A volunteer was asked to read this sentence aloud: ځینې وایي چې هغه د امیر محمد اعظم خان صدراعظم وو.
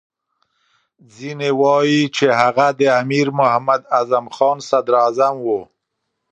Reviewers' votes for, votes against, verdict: 2, 0, accepted